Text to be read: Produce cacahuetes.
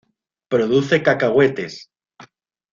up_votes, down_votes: 2, 0